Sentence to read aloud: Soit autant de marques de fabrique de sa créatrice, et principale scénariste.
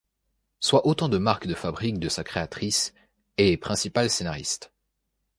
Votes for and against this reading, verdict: 2, 0, accepted